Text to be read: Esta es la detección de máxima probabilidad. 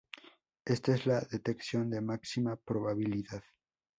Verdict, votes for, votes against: rejected, 0, 2